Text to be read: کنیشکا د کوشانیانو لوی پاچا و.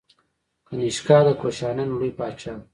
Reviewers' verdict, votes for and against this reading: rejected, 0, 2